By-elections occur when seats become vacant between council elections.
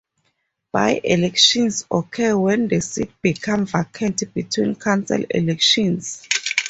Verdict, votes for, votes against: rejected, 0, 6